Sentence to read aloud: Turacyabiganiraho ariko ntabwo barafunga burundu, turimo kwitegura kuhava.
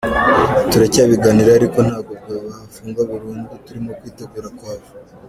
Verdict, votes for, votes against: accepted, 2, 0